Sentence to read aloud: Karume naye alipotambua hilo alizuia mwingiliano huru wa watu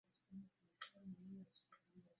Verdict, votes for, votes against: rejected, 0, 2